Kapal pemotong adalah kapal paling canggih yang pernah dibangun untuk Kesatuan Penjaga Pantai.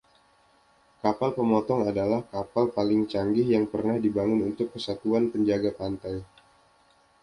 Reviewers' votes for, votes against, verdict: 2, 0, accepted